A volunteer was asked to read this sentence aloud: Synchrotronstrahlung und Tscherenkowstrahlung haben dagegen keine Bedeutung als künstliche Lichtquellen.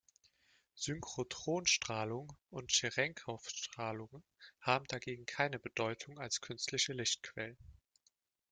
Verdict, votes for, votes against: rejected, 1, 2